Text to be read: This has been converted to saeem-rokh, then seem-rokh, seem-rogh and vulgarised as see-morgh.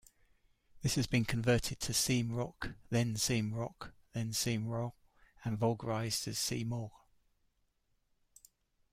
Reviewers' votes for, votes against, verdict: 2, 0, accepted